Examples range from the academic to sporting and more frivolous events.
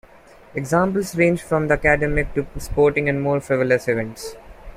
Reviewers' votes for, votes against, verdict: 2, 0, accepted